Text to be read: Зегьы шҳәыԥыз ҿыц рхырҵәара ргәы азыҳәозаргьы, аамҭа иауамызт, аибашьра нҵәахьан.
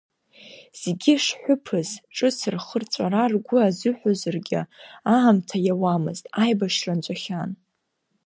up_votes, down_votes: 2, 1